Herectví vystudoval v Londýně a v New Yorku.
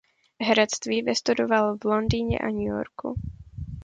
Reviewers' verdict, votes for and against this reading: rejected, 1, 2